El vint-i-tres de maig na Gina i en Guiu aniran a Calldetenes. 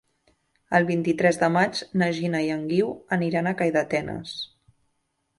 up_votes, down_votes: 2, 0